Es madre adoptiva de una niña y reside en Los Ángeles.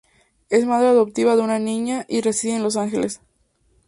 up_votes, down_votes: 4, 0